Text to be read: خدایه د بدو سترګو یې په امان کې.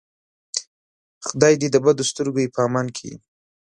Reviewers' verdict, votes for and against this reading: rejected, 1, 2